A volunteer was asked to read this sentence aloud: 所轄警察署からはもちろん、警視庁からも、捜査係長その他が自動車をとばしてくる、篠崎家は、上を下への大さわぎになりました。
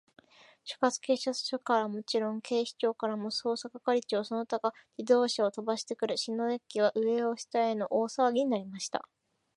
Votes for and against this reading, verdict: 7, 1, accepted